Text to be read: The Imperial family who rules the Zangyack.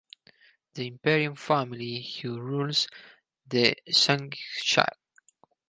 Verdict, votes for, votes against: rejected, 2, 2